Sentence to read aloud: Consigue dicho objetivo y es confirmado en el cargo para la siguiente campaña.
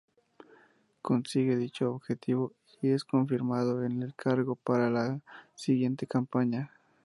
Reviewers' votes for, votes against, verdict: 0, 2, rejected